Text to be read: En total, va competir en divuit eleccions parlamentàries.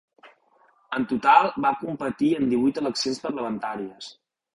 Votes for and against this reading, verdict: 2, 0, accepted